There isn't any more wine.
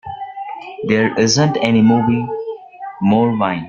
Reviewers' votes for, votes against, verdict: 0, 2, rejected